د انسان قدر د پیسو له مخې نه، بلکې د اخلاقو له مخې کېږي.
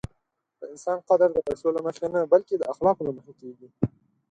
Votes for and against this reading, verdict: 6, 0, accepted